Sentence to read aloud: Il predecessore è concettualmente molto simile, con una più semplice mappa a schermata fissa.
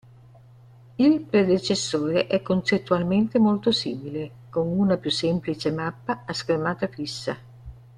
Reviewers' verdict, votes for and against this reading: accepted, 2, 0